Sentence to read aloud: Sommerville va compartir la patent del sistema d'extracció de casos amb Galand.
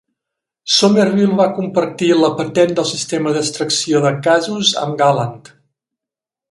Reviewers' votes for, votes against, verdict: 2, 0, accepted